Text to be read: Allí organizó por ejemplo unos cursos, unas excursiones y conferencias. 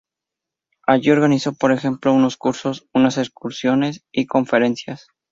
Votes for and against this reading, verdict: 2, 0, accepted